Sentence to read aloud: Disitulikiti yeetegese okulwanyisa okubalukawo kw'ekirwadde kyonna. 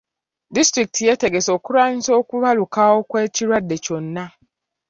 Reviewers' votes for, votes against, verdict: 2, 0, accepted